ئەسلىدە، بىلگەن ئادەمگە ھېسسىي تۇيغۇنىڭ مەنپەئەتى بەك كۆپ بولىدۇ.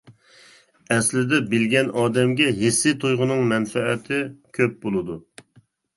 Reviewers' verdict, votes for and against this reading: rejected, 0, 2